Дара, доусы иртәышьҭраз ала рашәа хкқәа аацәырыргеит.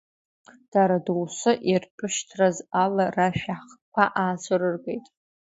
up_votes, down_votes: 2, 1